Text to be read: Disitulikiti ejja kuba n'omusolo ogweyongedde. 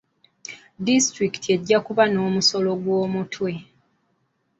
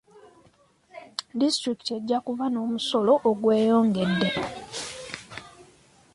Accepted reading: second